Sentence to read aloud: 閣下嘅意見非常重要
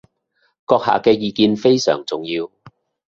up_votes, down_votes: 0, 2